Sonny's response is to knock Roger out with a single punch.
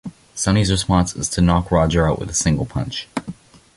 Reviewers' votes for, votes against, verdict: 2, 0, accepted